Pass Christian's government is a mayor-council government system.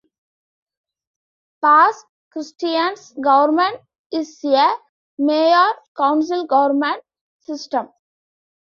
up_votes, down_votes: 1, 2